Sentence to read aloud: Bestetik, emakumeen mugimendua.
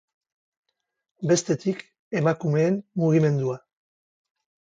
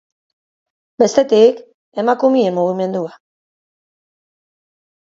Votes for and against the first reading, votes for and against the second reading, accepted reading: 2, 0, 1, 2, first